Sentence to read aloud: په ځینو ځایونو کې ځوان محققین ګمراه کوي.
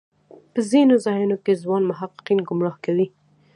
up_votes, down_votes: 2, 1